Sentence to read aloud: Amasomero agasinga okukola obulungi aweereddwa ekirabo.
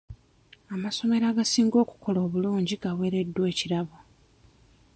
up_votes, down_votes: 0, 2